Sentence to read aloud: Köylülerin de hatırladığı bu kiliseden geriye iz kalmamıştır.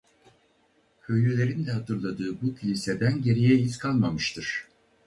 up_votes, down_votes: 2, 4